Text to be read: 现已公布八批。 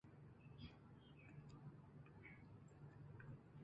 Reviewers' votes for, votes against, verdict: 0, 3, rejected